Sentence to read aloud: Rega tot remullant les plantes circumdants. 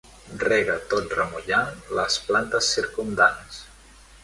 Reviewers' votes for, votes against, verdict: 1, 2, rejected